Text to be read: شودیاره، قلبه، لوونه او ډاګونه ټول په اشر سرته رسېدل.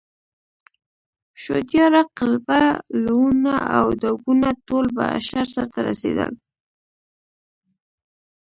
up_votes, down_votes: 0, 2